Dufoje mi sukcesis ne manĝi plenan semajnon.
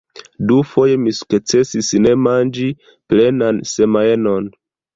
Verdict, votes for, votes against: rejected, 0, 2